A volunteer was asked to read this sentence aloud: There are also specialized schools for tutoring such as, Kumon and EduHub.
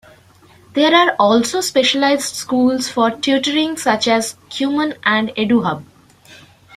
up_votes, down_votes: 2, 1